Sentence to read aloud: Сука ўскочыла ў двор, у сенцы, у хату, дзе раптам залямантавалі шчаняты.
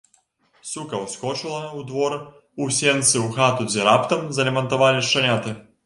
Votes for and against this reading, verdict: 2, 0, accepted